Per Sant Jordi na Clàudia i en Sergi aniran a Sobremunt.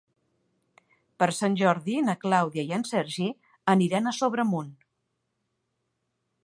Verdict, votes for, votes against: accepted, 2, 0